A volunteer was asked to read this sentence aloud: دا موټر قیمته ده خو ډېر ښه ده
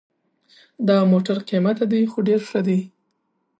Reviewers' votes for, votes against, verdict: 4, 0, accepted